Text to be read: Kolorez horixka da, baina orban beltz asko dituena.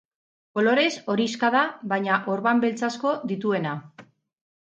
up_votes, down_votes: 2, 2